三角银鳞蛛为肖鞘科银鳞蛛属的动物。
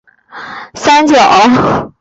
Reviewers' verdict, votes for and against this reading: rejected, 0, 2